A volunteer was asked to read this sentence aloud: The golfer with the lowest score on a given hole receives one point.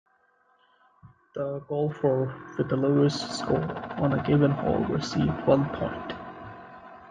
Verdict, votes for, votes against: accepted, 2, 1